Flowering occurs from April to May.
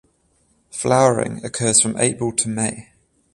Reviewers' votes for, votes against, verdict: 14, 0, accepted